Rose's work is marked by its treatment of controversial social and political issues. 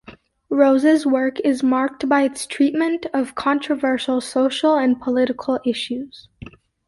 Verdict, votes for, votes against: accepted, 2, 0